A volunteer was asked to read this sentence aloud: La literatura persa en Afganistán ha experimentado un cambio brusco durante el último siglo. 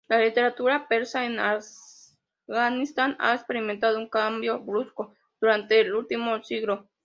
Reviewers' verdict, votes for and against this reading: accepted, 2, 0